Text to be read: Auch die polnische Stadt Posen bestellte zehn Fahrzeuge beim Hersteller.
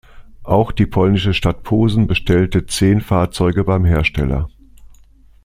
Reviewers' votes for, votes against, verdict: 2, 0, accepted